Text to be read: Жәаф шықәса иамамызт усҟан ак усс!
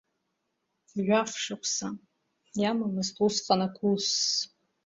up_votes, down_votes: 1, 2